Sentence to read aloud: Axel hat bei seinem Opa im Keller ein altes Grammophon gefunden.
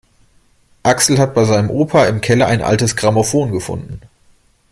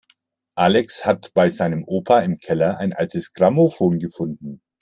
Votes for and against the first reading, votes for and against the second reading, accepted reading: 2, 0, 0, 2, first